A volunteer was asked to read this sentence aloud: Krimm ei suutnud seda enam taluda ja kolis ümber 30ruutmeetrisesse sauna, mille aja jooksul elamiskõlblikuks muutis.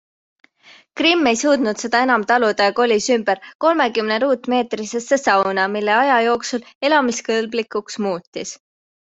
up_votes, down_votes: 0, 2